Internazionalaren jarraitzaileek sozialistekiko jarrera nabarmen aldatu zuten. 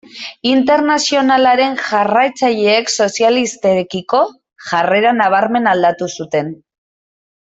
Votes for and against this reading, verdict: 0, 2, rejected